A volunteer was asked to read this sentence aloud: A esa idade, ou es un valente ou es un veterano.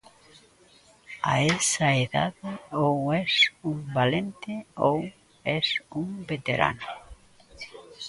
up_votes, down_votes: 0, 3